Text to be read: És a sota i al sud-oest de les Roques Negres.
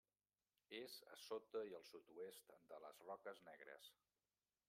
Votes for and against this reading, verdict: 0, 2, rejected